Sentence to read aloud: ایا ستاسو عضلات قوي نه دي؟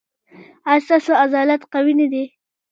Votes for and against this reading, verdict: 2, 0, accepted